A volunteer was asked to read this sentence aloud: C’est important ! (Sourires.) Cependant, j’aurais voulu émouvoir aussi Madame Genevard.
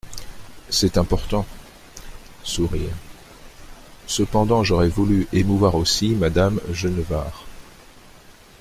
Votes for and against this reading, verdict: 2, 0, accepted